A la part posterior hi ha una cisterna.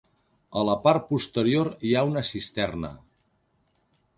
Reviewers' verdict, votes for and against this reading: accepted, 3, 0